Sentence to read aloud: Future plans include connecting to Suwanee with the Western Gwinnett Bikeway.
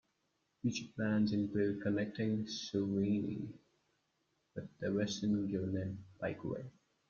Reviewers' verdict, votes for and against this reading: rejected, 1, 2